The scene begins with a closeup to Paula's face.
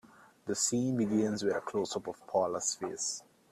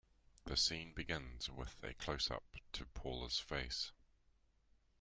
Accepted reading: second